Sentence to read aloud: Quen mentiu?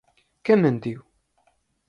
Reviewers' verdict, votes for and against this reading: accepted, 4, 0